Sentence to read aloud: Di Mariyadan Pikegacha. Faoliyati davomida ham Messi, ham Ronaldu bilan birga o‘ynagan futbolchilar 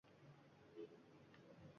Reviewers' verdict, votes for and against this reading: rejected, 1, 2